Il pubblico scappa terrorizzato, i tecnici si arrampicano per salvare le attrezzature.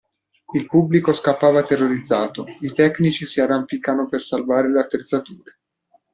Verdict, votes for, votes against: rejected, 0, 2